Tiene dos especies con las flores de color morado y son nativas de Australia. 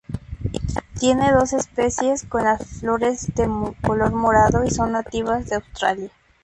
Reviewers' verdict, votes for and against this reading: rejected, 0, 2